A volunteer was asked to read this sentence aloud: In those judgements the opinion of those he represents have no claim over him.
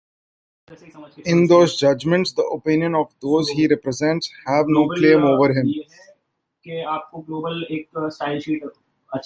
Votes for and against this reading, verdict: 1, 2, rejected